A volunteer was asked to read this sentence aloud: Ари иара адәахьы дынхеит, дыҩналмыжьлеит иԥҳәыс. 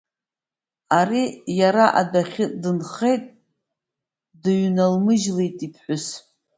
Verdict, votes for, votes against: accepted, 2, 0